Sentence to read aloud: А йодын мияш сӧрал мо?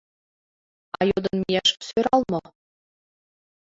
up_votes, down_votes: 1, 2